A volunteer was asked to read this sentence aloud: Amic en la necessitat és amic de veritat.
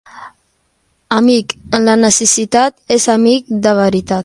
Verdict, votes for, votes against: accepted, 2, 0